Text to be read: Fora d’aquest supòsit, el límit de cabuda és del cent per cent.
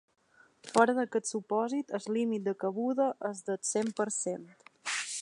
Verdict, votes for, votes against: rejected, 1, 3